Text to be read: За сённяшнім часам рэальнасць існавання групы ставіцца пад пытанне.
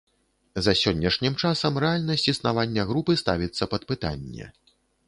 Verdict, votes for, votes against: accepted, 2, 0